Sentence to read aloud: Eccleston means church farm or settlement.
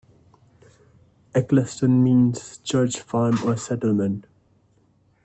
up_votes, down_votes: 2, 1